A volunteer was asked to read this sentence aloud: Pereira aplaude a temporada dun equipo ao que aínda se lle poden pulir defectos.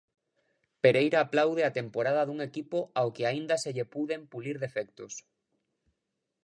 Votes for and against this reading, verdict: 1, 2, rejected